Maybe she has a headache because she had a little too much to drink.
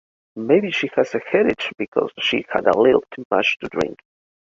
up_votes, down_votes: 2, 0